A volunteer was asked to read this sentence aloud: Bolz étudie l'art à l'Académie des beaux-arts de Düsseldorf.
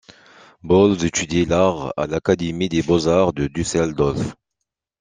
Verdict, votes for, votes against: accepted, 2, 1